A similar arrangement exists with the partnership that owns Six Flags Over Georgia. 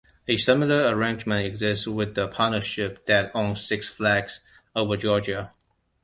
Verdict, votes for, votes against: accepted, 2, 1